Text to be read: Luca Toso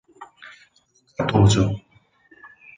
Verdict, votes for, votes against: rejected, 0, 4